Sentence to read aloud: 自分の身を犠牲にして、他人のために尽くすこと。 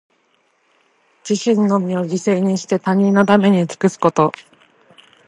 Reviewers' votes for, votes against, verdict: 1, 2, rejected